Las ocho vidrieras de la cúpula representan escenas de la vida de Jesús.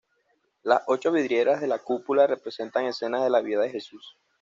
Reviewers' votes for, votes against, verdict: 2, 0, accepted